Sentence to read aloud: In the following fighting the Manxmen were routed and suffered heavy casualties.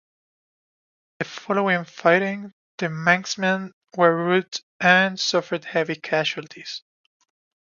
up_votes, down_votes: 0, 2